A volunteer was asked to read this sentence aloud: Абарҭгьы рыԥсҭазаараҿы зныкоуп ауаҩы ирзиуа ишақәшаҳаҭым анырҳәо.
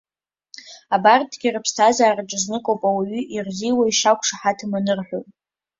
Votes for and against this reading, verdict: 2, 0, accepted